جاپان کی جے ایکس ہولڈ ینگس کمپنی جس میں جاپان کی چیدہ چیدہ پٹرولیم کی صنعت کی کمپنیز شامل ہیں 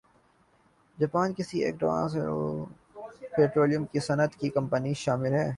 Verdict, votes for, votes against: rejected, 0, 2